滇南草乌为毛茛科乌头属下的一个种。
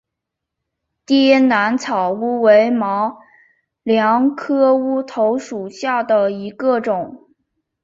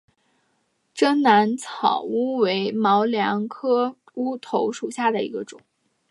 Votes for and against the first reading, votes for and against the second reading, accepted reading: 0, 2, 6, 0, second